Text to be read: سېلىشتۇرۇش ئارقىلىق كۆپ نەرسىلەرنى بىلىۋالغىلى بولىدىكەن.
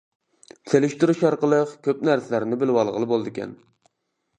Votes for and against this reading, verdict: 2, 0, accepted